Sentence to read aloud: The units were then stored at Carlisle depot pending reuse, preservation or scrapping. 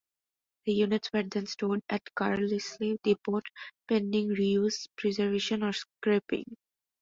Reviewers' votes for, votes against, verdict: 2, 0, accepted